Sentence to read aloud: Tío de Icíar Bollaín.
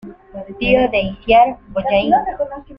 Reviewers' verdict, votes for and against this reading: accepted, 2, 1